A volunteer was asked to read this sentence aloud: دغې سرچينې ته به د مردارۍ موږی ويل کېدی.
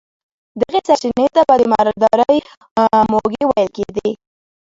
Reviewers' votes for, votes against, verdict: 0, 2, rejected